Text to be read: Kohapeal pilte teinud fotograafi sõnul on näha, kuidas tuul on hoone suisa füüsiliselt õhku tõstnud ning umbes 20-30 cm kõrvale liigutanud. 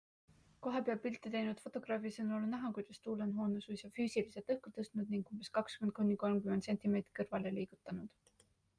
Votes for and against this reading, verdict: 0, 2, rejected